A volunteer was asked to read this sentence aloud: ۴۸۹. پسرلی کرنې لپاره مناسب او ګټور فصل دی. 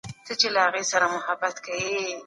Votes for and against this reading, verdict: 0, 2, rejected